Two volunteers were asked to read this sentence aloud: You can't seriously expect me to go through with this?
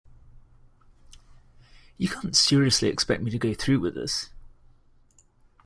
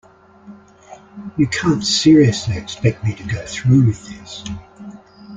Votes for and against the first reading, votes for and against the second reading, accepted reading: 0, 2, 2, 0, second